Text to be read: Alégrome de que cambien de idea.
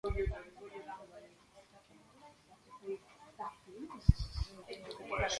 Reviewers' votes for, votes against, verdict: 0, 2, rejected